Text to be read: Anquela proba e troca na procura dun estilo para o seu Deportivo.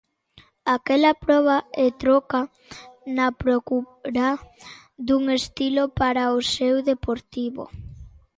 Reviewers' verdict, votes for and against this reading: rejected, 0, 2